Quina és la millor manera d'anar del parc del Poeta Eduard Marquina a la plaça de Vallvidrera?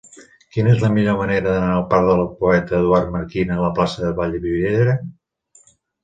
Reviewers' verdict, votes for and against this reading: accepted, 2, 1